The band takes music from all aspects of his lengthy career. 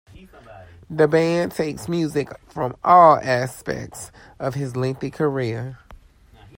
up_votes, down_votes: 2, 1